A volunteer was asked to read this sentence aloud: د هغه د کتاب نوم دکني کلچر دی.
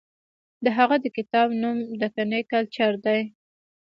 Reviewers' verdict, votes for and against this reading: accepted, 2, 0